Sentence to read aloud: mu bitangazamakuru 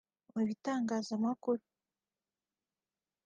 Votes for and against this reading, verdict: 2, 0, accepted